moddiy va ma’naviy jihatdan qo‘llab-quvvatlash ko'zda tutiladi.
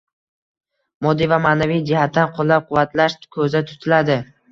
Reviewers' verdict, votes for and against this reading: rejected, 1, 2